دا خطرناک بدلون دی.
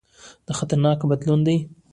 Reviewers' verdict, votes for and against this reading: rejected, 0, 2